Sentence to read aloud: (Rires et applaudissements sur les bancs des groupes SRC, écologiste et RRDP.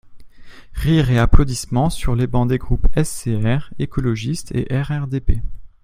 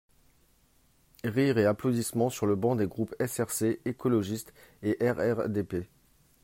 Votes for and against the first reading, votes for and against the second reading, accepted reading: 0, 4, 2, 1, second